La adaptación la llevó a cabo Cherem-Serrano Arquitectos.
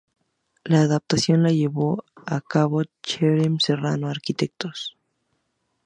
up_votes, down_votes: 2, 2